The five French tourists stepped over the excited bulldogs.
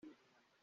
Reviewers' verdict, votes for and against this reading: rejected, 0, 2